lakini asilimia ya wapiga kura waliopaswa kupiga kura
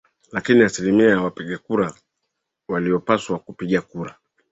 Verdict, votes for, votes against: accepted, 2, 0